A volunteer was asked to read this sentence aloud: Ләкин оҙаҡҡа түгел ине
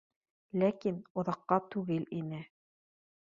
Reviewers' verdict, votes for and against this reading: accepted, 2, 0